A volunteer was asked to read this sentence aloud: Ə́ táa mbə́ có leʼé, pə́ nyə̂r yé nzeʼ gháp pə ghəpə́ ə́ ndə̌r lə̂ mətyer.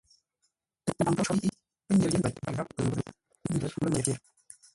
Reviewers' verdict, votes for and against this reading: rejected, 0, 2